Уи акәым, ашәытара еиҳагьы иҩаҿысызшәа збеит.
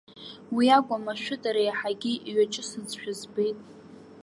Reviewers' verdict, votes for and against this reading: rejected, 1, 2